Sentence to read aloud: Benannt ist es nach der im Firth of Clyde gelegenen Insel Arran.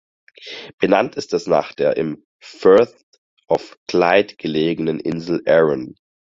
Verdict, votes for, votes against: accepted, 4, 0